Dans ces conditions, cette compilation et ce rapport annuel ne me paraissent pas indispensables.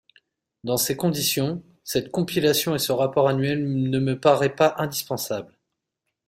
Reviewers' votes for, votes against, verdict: 0, 2, rejected